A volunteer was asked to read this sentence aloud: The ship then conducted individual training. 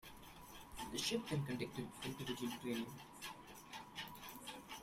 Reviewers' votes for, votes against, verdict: 0, 2, rejected